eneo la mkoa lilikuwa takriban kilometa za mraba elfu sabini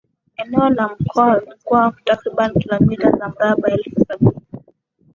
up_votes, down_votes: 1, 2